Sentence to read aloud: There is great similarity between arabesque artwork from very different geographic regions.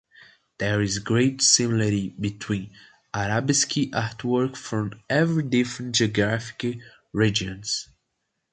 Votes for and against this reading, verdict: 2, 1, accepted